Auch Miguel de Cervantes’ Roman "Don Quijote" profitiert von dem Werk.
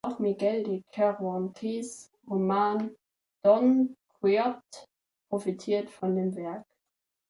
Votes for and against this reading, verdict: 2, 3, rejected